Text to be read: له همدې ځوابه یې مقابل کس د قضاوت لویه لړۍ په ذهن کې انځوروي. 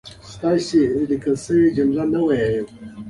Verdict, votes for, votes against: accepted, 2, 1